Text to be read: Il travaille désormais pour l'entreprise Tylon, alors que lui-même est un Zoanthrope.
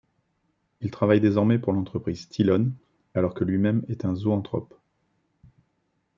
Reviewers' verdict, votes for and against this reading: accepted, 2, 0